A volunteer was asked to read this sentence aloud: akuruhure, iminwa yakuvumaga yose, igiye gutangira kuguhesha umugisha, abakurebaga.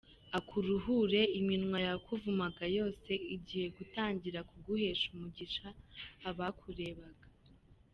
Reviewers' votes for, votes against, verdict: 2, 0, accepted